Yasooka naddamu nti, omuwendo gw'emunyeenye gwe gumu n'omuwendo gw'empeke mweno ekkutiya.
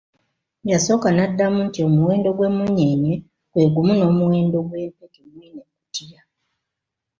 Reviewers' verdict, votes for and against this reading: rejected, 0, 2